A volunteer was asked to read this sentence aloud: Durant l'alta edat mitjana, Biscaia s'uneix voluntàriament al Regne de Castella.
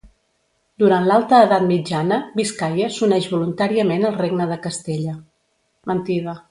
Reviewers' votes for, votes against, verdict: 0, 2, rejected